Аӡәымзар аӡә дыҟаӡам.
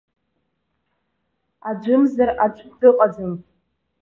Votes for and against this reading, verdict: 2, 0, accepted